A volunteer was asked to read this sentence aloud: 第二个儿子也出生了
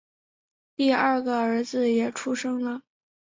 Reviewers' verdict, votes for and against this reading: accepted, 2, 0